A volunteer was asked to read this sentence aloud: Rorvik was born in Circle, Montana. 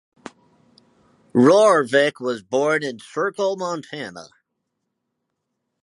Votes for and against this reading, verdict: 4, 0, accepted